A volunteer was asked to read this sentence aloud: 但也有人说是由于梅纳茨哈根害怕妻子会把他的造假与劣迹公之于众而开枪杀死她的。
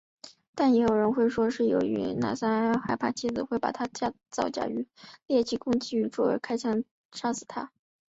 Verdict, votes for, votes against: accepted, 2, 1